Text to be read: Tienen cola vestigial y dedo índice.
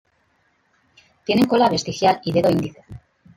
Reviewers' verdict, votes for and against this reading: accepted, 2, 1